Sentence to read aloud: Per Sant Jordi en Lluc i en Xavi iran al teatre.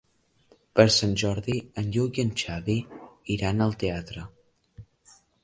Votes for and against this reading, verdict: 3, 0, accepted